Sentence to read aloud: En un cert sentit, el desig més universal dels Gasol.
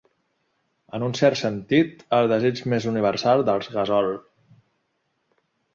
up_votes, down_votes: 3, 0